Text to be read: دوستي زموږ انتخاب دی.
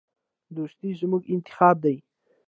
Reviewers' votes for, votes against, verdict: 0, 2, rejected